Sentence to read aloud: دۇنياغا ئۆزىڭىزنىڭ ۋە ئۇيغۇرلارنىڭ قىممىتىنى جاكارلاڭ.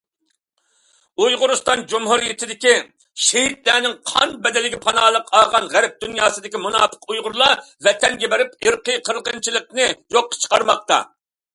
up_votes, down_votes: 0, 2